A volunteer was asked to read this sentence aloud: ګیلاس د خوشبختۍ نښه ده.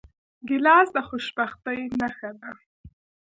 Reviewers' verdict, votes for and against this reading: accepted, 3, 0